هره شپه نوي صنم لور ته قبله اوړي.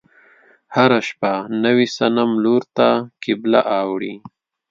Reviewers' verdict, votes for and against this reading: accepted, 2, 0